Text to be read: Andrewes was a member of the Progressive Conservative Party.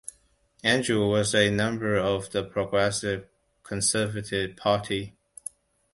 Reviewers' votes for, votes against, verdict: 2, 0, accepted